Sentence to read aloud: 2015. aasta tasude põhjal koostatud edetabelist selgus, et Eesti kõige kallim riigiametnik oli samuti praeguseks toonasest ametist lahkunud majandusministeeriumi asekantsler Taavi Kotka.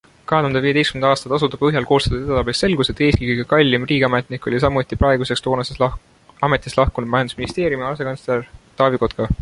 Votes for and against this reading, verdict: 0, 2, rejected